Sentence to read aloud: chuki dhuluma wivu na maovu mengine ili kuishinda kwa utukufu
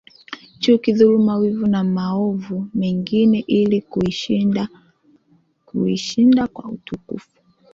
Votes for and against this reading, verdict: 2, 1, accepted